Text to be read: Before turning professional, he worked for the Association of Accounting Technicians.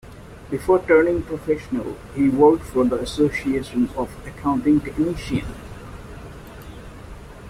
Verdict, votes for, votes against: rejected, 1, 2